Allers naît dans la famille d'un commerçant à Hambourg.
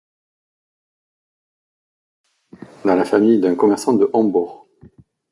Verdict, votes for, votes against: rejected, 0, 2